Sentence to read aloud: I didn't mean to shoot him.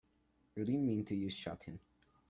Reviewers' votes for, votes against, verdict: 1, 2, rejected